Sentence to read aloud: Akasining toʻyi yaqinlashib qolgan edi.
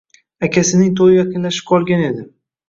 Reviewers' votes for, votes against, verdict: 2, 0, accepted